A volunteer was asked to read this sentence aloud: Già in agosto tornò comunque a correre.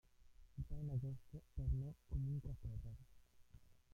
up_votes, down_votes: 0, 2